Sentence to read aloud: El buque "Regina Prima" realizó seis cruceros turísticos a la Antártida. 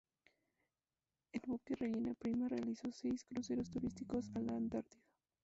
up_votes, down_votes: 0, 2